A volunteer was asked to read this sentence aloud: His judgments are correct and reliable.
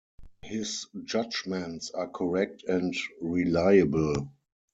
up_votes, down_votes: 4, 0